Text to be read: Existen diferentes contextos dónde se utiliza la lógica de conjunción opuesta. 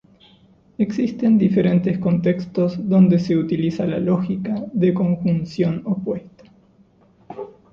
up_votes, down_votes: 2, 0